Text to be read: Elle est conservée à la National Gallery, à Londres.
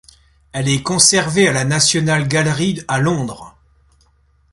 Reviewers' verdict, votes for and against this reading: rejected, 0, 2